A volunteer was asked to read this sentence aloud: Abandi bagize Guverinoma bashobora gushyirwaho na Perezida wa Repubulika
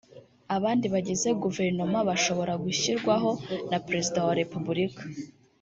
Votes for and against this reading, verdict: 0, 2, rejected